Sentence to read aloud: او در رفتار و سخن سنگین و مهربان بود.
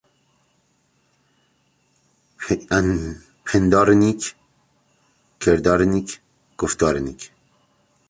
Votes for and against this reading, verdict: 0, 2, rejected